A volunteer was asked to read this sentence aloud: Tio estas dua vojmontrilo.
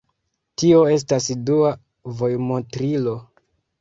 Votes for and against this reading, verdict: 1, 2, rejected